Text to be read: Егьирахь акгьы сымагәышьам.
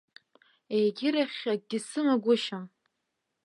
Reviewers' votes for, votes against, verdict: 2, 1, accepted